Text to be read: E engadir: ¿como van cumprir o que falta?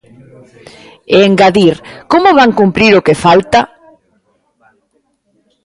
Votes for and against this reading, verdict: 1, 2, rejected